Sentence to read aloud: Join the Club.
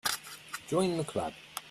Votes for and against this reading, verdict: 3, 0, accepted